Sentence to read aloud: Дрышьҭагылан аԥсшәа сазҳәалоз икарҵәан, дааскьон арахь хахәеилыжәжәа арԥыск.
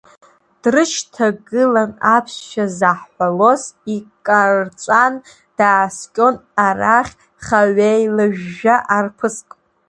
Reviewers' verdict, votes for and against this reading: rejected, 1, 2